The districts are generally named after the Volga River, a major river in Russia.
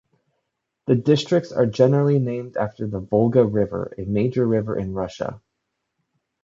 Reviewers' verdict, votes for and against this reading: accepted, 2, 0